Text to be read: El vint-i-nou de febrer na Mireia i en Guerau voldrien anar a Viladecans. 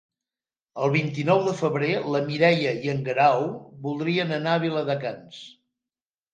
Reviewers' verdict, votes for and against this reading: accepted, 2, 1